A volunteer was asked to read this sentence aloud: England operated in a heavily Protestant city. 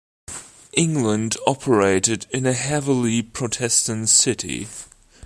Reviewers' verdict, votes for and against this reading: accepted, 2, 0